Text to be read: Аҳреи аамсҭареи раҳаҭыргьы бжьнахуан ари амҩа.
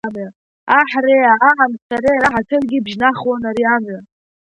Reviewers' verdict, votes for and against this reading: rejected, 0, 2